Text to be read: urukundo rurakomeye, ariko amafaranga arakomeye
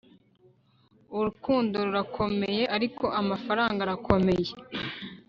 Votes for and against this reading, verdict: 2, 0, accepted